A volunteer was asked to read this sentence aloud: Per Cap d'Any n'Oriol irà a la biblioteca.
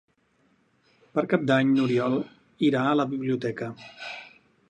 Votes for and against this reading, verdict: 4, 0, accepted